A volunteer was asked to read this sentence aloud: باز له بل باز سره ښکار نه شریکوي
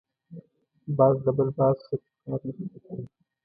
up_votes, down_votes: 1, 2